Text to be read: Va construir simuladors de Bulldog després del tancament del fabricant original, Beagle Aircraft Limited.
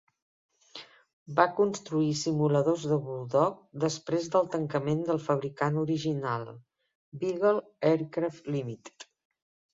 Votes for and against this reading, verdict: 3, 0, accepted